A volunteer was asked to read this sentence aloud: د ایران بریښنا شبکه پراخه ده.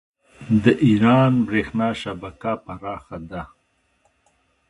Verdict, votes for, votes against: accepted, 2, 0